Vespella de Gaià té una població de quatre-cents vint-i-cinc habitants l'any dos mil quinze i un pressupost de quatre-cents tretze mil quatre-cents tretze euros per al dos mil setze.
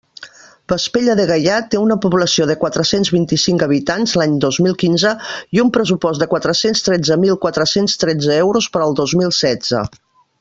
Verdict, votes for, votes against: accepted, 2, 0